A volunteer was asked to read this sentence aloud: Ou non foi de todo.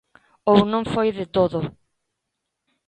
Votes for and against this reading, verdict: 2, 0, accepted